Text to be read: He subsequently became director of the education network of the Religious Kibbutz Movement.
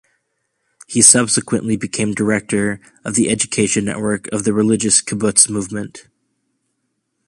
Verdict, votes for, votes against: accepted, 2, 0